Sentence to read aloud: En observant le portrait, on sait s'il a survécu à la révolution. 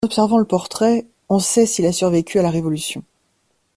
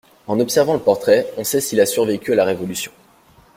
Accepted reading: second